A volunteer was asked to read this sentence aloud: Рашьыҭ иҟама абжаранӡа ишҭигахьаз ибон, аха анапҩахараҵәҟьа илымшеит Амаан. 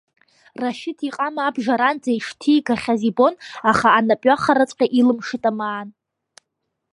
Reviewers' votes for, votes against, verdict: 0, 2, rejected